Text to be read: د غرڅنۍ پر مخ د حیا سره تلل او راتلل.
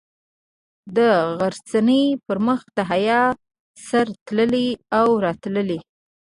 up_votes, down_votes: 2, 1